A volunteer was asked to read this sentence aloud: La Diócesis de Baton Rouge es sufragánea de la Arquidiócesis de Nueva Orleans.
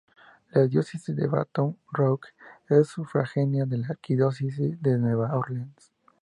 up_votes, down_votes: 0, 2